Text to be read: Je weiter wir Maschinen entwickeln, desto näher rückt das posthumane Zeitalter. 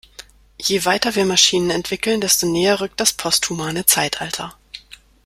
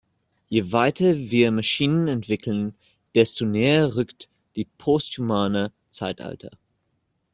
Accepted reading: first